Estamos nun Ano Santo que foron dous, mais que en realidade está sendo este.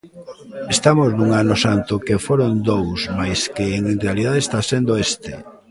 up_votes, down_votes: 2, 0